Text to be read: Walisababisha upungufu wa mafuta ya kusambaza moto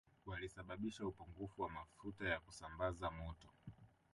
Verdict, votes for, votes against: accepted, 2, 0